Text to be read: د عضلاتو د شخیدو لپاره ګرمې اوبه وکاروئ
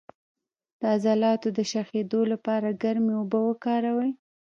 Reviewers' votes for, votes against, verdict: 1, 2, rejected